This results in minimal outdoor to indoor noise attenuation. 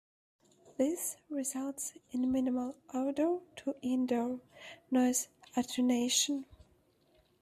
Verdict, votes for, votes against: rejected, 0, 2